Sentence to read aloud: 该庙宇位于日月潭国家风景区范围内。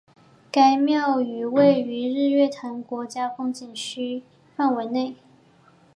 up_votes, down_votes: 2, 0